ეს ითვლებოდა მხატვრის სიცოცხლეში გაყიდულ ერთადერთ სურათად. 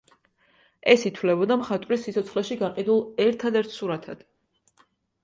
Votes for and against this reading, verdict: 3, 0, accepted